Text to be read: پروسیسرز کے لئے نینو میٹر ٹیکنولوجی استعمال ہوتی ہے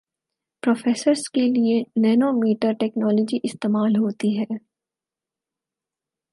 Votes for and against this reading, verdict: 8, 2, accepted